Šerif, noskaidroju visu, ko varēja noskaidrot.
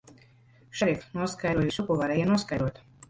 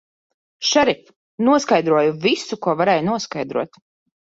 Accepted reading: second